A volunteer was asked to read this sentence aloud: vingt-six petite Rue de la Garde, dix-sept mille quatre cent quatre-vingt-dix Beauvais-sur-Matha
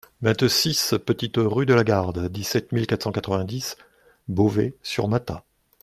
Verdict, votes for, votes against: accepted, 2, 0